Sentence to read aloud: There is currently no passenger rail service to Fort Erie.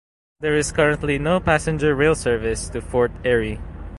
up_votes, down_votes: 0, 2